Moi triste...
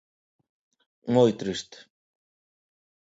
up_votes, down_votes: 2, 0